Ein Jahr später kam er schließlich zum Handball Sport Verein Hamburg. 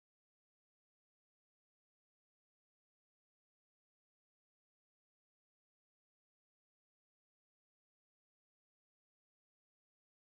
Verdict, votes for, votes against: rejected, 0, 2